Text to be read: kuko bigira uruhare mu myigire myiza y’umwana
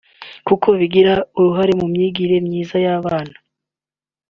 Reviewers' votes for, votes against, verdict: 1, 2, rejected